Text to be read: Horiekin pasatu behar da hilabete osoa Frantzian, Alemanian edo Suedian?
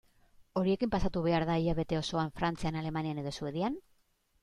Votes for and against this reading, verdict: 2, 0, accepted